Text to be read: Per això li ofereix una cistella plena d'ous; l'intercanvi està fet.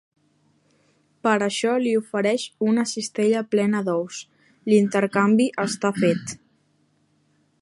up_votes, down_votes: 3, 0